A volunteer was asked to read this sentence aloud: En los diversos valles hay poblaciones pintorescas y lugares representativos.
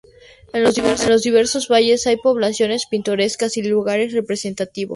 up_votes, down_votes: 0, 2